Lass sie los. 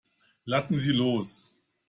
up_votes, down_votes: 0, 2